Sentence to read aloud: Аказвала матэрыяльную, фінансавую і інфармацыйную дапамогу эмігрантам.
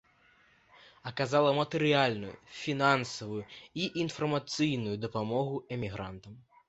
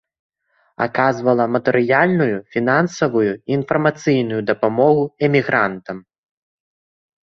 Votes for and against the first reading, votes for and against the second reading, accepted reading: 1, 2, 2, 0, second